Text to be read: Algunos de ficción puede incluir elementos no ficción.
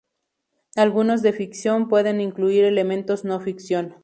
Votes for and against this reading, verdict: 2, 0, accepted